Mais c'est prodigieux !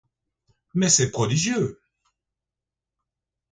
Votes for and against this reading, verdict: 2, 0, accepted